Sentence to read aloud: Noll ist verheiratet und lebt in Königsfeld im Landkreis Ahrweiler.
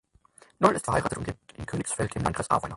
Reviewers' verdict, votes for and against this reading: rejected, 0, 4